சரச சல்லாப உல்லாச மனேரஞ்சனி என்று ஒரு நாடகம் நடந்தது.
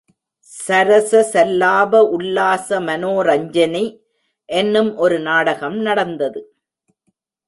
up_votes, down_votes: 1, 2